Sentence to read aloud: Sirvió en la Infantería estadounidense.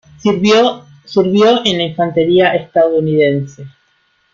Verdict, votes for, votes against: rejected, 0, 2